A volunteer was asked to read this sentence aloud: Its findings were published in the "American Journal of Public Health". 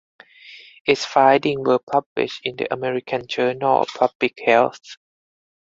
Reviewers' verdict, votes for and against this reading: rejected, 2, 4